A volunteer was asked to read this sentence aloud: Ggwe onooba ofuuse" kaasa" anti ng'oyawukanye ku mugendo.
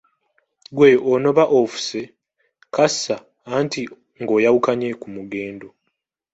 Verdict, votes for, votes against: accepted, 2, 0